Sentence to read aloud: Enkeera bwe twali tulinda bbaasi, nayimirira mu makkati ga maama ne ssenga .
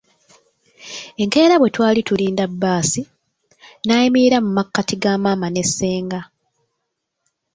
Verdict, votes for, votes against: rejected, 0, 2